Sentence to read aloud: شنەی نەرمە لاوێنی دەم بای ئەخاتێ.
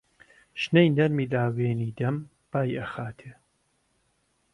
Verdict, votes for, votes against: accepted, 2, 0